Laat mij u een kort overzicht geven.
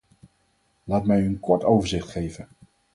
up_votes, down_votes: 2, 2